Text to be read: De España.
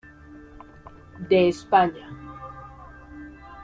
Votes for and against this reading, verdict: 2, 0, accepted